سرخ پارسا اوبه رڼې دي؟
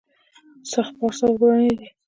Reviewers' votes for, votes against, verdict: 1, 2, rejected